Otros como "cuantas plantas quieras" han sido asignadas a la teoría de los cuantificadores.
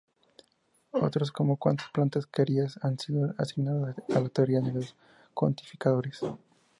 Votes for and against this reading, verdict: 0, 2, rejected